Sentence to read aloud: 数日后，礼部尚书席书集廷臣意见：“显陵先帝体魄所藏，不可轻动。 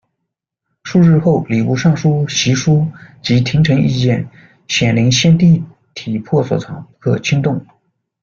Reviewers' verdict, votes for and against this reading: accepted, 2, 0